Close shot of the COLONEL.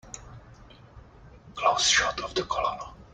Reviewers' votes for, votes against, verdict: 0, 2, rejected